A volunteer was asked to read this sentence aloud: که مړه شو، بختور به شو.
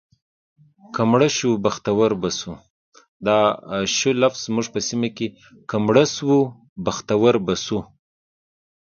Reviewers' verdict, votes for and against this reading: rejected, 0, 2